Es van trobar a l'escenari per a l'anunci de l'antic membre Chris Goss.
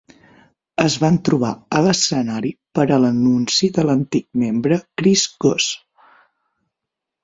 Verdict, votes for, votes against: accepted, 6, 0